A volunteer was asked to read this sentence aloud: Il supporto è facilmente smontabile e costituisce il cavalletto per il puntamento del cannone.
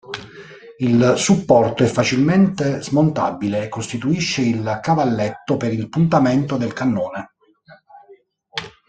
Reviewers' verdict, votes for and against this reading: rejected, 1, 2